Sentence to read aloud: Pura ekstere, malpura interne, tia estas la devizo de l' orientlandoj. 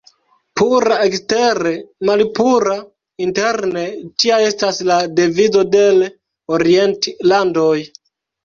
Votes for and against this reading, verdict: 1, 2, rejected